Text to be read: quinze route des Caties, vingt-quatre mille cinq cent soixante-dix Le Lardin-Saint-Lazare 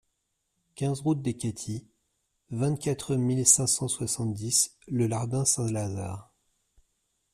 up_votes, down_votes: 2, 0